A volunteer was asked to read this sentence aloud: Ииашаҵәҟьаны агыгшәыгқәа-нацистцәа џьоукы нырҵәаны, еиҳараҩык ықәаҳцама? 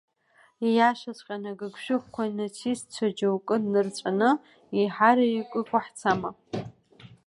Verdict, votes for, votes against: accepted, 2, 0